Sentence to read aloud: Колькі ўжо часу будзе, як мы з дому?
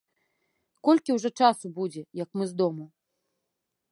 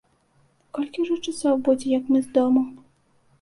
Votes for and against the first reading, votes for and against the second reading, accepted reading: 2, 0, 1, 2, first